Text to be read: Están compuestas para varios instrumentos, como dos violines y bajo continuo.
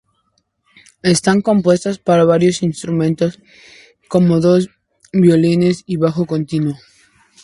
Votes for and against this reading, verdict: 2, 0, accepted